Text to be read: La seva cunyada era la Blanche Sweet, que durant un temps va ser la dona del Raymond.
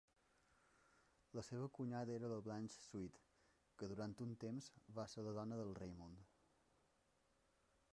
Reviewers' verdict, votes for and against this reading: rejected, 0, 2